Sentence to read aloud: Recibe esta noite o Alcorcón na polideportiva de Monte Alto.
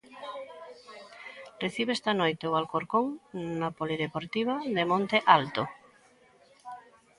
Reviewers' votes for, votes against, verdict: 2, 0, accepted